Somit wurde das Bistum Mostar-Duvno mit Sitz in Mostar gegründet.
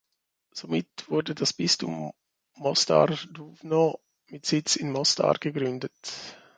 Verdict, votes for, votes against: accepted, 2, 1